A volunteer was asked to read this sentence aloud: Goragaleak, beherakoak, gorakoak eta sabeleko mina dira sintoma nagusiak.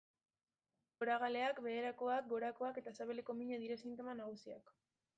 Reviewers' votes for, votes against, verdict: 1, 2, rejected